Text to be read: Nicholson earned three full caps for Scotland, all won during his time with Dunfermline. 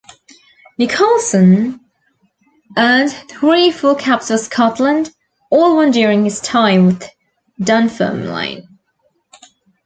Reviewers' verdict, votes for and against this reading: rejected, 0, 2